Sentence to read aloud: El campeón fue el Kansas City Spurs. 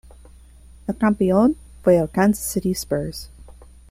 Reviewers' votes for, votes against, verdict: 2, 0, accepted